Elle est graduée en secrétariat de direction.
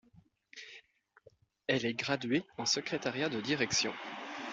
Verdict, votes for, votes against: accepted, 2, 0